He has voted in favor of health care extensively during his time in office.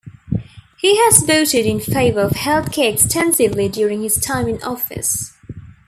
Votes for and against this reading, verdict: 2, 0, accepted